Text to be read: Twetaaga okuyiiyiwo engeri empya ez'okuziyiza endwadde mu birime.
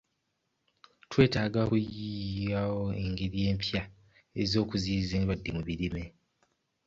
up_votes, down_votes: 1, 2